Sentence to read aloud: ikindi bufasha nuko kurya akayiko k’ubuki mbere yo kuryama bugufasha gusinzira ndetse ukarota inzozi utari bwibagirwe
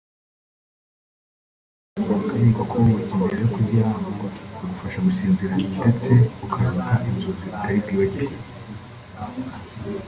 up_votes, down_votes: 0, 2